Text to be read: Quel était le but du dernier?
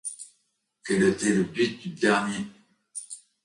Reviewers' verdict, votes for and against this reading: accepted, 2, 0